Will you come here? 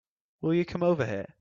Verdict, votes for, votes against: rejected, 1, 2